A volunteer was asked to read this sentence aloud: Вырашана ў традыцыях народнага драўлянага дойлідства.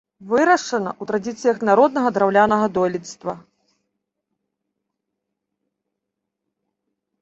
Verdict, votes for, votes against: rejected, 1, 2